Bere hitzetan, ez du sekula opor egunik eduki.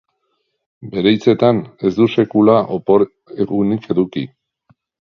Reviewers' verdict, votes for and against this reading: accepted, 2, 0